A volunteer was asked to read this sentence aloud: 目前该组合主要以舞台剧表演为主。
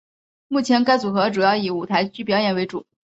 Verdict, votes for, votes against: accepted, 3, 0